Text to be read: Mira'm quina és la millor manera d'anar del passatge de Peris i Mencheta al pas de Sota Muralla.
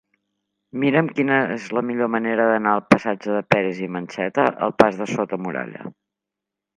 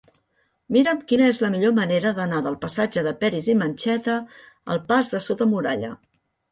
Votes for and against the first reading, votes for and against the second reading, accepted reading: 2, 3, 2, 1, second